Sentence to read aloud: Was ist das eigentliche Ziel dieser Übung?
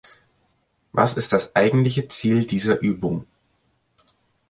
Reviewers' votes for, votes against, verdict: 2, 0, accepted